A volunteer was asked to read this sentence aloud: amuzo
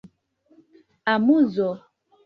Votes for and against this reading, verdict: 2, 0, accepted